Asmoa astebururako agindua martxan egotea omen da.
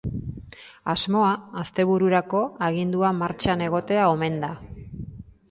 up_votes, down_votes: 4, 0